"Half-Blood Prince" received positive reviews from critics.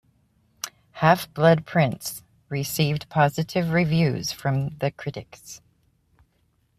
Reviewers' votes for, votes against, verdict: 1, 2, rejected